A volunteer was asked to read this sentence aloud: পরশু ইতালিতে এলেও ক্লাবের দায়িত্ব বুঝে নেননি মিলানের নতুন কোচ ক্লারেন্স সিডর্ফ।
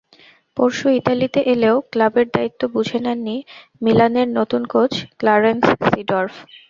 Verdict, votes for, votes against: accepted, 2, 0